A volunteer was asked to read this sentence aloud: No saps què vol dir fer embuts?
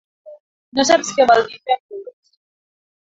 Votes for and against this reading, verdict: 0, 3, rejected